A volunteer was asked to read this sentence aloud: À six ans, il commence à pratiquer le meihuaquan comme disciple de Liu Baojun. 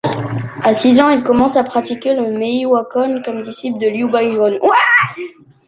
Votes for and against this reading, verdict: 0, 2, rejected